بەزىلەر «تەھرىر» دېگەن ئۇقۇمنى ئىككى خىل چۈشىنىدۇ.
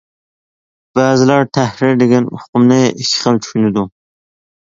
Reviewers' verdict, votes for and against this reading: accepted, 2, 1